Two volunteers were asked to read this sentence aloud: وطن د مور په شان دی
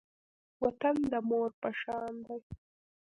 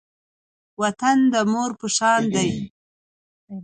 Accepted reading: second